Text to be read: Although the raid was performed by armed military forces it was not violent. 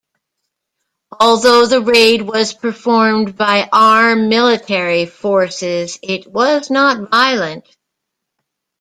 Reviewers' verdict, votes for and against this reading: accepted, 2, 0